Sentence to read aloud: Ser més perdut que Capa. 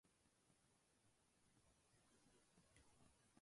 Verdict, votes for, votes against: rejected, 0, 2